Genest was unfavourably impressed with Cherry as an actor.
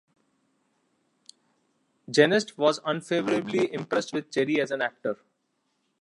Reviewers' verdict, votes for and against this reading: rejected, 1, 2